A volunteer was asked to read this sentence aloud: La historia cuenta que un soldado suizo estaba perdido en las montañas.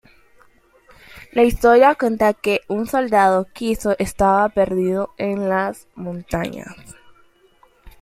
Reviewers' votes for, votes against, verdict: 0, 2, rejected